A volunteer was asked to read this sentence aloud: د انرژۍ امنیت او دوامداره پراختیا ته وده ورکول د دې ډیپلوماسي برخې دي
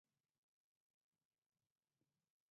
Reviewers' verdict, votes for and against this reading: rejected, 2, 4